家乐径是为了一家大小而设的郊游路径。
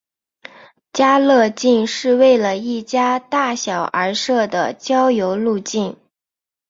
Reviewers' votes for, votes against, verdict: 4, 1, accepted